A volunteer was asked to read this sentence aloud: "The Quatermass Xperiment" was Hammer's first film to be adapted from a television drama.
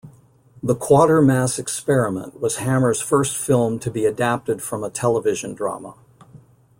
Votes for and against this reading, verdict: 2, 0, accepted